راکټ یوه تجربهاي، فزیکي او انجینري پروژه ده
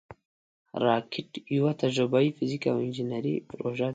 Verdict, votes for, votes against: accepted, 2, 1